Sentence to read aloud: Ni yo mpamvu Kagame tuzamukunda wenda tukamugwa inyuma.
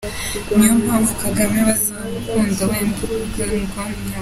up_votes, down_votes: 1, 2